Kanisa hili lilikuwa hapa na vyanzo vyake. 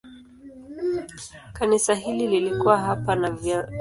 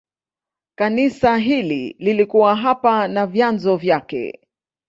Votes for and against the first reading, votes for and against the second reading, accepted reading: 0, 2, 2, 0, second